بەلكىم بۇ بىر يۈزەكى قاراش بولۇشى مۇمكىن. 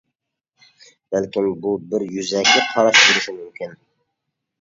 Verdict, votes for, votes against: rejected, 0, 2